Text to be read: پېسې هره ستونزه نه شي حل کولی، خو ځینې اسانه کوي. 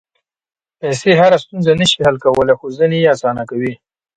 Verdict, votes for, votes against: rejected, 1, 2